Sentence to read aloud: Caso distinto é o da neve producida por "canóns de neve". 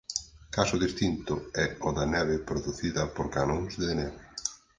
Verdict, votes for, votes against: accepted, 4, 0